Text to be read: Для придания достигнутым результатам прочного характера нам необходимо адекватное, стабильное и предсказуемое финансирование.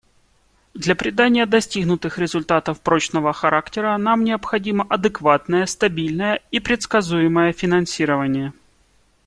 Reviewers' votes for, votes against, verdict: 0, 2, rejected